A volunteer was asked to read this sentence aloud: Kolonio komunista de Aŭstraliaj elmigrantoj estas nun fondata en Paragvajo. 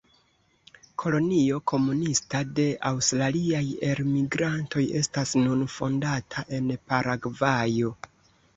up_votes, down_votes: 0, 2